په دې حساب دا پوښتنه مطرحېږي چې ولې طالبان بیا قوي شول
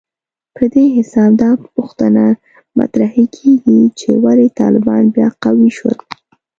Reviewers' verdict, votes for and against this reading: accepted, 2, 0